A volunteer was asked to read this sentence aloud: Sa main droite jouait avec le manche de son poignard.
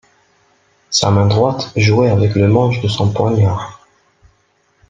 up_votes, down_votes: 2, 0